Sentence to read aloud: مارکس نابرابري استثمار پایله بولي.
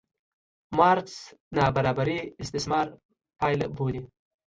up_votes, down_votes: 2, 1